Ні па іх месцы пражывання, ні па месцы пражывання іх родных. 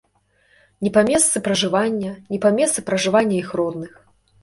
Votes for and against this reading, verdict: 0, 2, rejected